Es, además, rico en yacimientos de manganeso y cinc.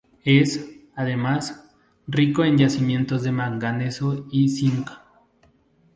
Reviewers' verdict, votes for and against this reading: accepted, 2, 0